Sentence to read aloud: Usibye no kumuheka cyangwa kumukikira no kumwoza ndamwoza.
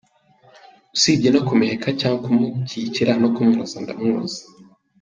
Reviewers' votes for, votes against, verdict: 1, 2, rejected